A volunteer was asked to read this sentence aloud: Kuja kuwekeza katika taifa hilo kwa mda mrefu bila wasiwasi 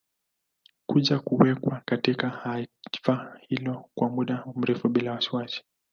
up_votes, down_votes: 1, 2